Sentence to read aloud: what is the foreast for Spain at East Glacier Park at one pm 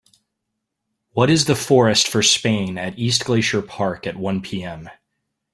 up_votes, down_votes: 1, 2